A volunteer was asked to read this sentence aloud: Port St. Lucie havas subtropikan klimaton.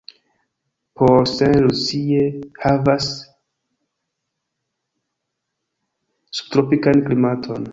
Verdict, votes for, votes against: accepted, 2, 1